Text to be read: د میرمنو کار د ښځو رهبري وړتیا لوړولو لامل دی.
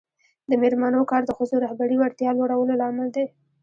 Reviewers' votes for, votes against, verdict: 0, 2, rejected